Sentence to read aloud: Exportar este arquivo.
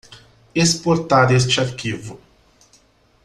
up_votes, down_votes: 2, 0